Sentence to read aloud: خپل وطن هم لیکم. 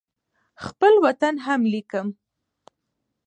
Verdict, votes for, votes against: accepted, 2, 0